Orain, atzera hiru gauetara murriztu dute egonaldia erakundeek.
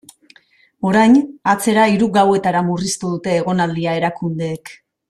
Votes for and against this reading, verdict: 3, 0, accepted